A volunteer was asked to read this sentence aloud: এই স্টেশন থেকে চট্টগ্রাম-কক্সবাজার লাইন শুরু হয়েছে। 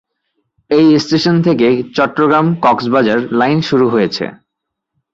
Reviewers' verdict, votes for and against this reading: accepted, 3, 0